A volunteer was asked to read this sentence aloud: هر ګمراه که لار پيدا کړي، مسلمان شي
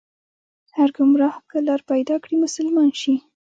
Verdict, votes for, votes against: rejected, 1, 2